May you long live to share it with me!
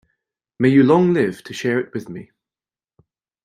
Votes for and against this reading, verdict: 2, 0, accepted